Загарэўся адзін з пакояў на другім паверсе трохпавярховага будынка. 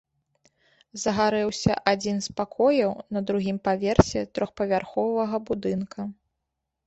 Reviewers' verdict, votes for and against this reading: accepted, 2, 0